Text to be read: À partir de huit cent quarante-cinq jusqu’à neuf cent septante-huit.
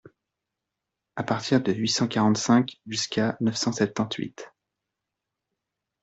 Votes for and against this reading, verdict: 2, 0, accepted